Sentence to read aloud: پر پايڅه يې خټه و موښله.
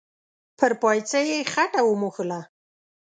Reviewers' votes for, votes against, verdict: 2, 0, accepted